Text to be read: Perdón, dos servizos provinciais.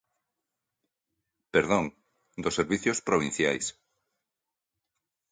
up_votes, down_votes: 1, 2